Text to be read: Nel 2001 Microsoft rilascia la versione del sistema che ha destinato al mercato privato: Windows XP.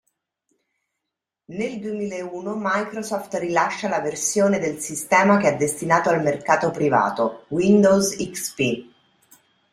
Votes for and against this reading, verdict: 0, 2, rejected